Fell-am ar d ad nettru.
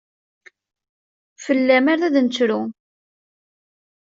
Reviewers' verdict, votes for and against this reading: accepted, 2, 0